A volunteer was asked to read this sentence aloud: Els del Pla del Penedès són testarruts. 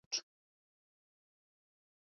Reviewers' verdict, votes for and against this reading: rejected, 2, 4